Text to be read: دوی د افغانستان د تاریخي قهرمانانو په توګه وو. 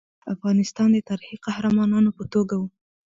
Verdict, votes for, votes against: rejected, 0, 2